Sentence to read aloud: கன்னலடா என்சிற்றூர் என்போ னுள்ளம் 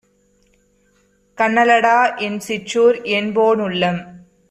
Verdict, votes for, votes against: accepted, 2, 0